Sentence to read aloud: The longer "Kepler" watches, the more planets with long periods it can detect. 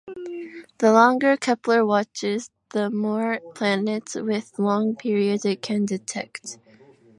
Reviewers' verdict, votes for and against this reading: accepted, 2, 0